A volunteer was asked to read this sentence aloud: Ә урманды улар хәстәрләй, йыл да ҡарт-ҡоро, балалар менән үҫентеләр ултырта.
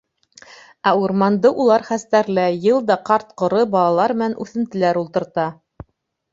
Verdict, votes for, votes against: rejected, 1, 2